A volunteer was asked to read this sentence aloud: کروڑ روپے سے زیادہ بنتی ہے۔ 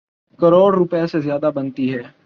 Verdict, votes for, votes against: accepted, 8, 0